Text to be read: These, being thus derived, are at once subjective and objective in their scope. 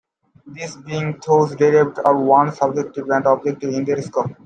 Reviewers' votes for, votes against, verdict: 0, 2, rejected